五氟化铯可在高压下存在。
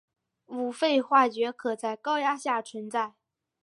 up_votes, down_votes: 3, 0